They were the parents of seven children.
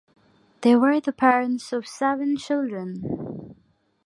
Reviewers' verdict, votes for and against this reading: accepted, 2, 0